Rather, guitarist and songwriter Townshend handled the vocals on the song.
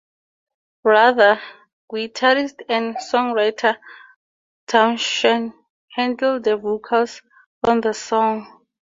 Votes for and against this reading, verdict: 0, 2, rejected